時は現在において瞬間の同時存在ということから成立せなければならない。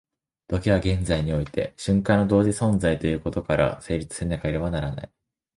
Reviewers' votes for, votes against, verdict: 0, 2, rejected